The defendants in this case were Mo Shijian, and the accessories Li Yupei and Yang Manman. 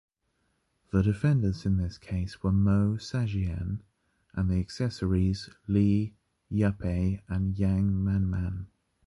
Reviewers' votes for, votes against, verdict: 1, 2, rejected